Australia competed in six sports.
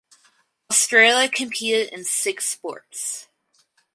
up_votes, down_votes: 2, 2